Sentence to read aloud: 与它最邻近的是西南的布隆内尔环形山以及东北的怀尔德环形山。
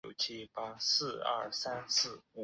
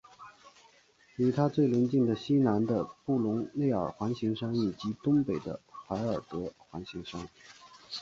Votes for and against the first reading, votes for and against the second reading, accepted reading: 1, 2, 8, 3, second